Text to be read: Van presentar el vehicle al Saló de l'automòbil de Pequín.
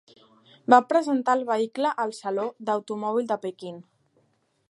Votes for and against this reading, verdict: 0, 2, rejected